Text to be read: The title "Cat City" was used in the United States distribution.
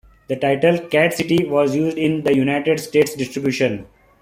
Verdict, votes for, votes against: accepted, 2, 0